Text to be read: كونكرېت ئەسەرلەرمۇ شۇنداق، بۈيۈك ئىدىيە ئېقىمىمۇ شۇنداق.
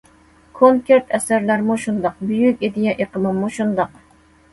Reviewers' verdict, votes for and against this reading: accepted, 2, 0